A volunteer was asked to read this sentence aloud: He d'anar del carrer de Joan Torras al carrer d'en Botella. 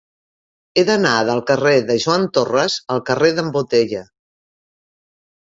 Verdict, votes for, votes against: accepted, 3, 0